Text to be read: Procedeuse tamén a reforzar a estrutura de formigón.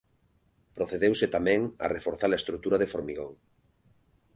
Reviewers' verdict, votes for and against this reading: rejected, 1, 2